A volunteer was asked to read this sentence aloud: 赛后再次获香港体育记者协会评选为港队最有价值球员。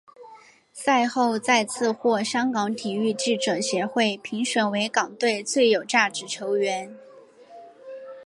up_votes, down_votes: 3, 1